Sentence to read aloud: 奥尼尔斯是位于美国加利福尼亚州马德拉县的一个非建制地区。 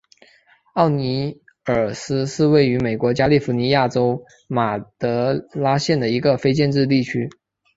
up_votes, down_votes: 0, 2